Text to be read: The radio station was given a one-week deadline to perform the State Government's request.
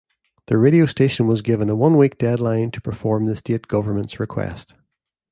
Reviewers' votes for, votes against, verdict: 2, 0, accepted